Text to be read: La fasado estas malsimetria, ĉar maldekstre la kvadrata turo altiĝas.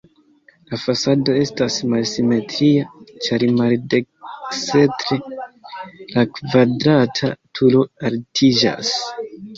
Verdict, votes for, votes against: rejected, 0, 2